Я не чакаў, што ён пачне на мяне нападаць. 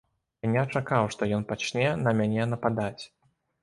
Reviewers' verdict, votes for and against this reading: rejected, 0, 2